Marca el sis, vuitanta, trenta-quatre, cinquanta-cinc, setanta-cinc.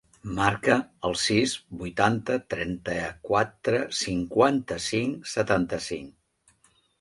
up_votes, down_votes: 3, 0